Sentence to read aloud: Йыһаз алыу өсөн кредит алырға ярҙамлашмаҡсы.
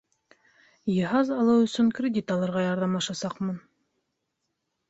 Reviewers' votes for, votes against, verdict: 0, 2, rejected